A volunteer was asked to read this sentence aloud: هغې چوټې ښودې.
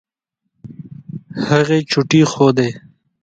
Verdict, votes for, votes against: accepted, 2, 0